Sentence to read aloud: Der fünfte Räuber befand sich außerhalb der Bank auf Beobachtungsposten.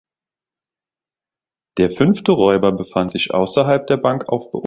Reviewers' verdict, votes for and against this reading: rejected, 0, 3